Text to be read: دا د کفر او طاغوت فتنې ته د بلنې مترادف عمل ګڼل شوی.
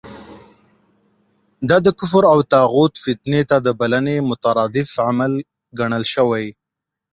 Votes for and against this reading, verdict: 14, 0, accepted